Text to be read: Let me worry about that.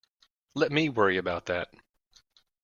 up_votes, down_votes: 2, 0